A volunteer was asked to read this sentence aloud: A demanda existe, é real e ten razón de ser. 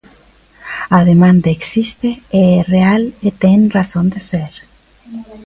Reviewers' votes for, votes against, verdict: 2, 0, accepted